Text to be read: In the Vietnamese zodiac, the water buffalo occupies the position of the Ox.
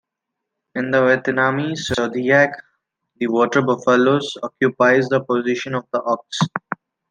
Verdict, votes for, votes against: accepted, 2, 0